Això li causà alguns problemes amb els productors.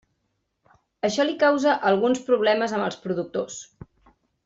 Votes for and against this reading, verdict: 1, 2, rejected